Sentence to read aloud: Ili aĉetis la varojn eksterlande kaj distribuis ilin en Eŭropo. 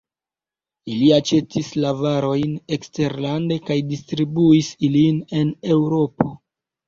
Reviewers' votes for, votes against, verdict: 2, 1, accepted